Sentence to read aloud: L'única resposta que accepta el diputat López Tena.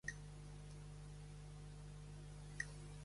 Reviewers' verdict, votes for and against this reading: rejected, 1, 2